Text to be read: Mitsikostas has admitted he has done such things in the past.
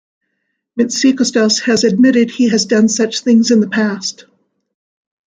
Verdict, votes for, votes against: accepted, 2, 0